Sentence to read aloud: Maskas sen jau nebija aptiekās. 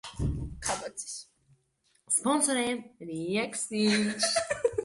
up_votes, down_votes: 0, 2